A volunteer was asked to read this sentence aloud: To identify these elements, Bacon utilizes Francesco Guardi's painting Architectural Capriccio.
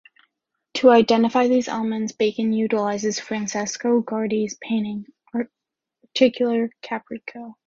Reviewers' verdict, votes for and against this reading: rejected, 1, 2